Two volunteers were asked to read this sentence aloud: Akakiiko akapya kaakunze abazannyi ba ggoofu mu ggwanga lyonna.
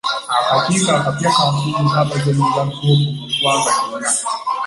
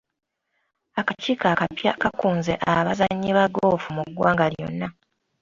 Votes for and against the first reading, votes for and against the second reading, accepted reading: 1, 2, 2, 0, second